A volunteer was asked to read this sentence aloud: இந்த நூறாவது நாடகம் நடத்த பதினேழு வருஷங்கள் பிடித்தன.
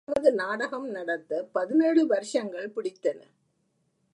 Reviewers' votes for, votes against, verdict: 0, 2, rejected